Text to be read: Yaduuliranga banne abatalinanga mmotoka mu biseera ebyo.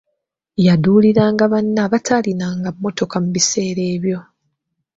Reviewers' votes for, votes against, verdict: 1, 2, rejected